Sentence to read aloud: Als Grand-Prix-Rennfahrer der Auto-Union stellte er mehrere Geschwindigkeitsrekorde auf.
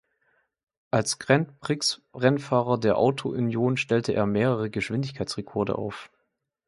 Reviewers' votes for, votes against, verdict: 0, 2, rejected